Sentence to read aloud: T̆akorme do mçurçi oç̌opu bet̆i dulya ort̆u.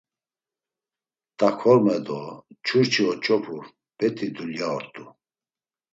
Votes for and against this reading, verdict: 2, 0, accepted